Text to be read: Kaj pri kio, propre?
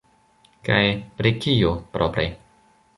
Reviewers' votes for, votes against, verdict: 2, 0, accepted